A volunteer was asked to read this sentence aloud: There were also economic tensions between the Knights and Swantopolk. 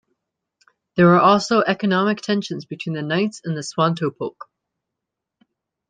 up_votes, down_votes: 2, 1